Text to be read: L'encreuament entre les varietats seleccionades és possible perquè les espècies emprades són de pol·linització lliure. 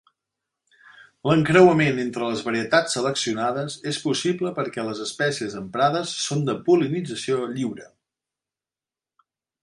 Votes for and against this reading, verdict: 3, 0, accepted